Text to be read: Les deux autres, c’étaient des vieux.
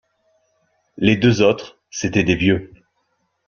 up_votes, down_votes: 2, 0